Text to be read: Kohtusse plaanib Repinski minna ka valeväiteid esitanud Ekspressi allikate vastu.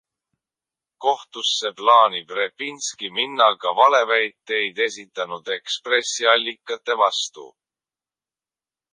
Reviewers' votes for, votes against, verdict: 1, 2, rejected